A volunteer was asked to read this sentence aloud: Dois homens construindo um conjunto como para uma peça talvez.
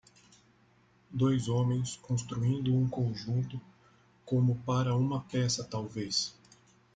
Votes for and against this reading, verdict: 1, 2, rejected